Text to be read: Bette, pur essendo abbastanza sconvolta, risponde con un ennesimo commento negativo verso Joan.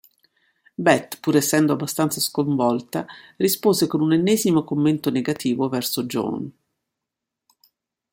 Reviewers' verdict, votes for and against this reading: rejected, 1, 2